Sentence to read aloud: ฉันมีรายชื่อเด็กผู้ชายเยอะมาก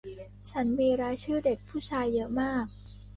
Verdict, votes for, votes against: accepted, 2, 1